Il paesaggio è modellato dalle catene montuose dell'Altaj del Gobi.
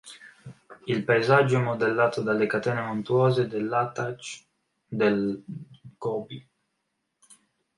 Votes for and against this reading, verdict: 0, 2, rejected